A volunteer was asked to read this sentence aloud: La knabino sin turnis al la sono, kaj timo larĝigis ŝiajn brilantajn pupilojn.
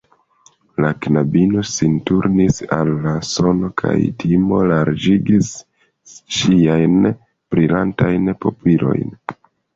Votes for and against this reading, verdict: 0, 2, rejected